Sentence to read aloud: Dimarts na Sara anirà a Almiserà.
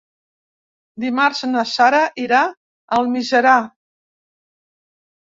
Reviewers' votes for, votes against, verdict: 0, 3, rejected